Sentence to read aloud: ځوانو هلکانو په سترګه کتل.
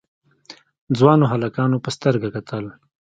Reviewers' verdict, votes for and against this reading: accepted, 2, 0